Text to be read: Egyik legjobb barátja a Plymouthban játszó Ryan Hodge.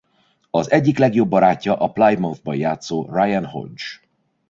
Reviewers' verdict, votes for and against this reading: rejected, 0, 2